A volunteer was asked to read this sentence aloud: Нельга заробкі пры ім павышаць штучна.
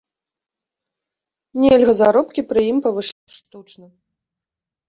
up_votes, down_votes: 0, 2